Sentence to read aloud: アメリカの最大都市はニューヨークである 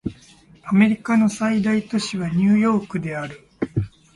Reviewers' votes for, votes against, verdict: 2, 0, accepted